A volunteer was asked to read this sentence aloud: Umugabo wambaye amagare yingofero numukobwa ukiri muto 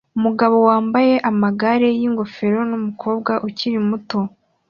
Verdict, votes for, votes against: accepted, 2, 0